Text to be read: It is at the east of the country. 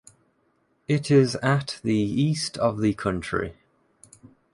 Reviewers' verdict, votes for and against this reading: accepted, 2, 0